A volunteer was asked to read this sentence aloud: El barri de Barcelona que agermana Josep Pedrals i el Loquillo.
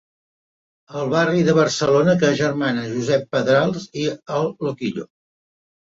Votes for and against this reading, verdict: 2, 0, accepted